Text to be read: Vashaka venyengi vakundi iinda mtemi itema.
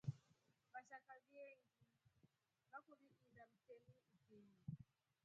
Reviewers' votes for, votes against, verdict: 1, 2, rejected